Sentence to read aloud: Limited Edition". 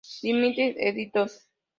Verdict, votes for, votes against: accepted, 2, 0